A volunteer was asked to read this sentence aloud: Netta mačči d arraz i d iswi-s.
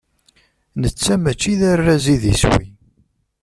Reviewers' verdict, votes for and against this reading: rejected, 0, 2